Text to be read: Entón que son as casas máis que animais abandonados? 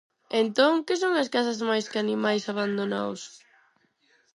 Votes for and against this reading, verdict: 2, 4, rejected